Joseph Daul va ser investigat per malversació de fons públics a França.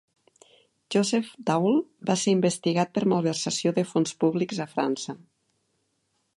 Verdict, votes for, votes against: accepted, 3, 0